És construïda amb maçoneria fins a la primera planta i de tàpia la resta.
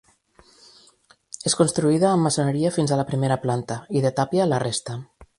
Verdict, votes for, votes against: accepted, 2, 0